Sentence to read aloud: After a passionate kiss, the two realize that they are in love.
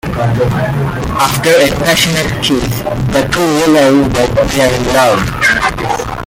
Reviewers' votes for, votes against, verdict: 1, 2, rejected